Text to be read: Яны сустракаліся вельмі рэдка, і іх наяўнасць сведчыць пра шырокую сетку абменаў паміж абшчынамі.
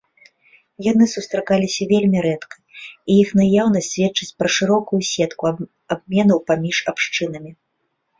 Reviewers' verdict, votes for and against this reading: rejected, 0, 2